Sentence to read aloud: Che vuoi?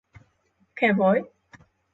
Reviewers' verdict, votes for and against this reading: rejected, 0, 6